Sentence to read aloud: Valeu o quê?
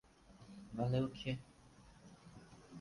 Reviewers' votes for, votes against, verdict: 0, 4, rejected